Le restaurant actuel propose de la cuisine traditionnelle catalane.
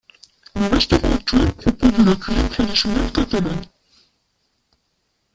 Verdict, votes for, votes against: rejected, 0, 2